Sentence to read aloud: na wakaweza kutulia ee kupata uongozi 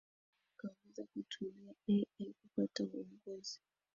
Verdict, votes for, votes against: rejected, 0, 2